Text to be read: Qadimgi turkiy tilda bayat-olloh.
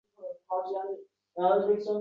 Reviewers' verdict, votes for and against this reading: rejected, 0, 3